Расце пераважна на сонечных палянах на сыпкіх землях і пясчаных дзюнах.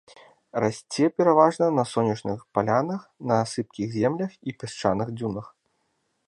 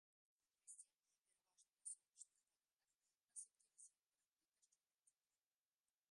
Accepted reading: first